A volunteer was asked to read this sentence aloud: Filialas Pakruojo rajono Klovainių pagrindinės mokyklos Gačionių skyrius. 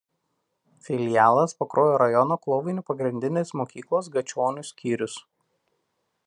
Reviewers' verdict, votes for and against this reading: accepted, 2, 0